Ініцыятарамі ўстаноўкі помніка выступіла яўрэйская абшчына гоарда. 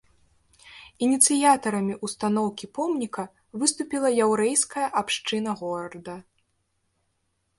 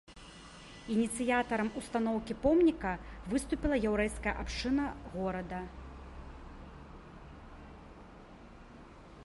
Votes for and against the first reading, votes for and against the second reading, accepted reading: 0, 2, 3, 1, second